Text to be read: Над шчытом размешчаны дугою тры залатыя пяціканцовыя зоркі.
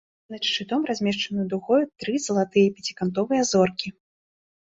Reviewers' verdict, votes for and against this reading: rejected, 1, 2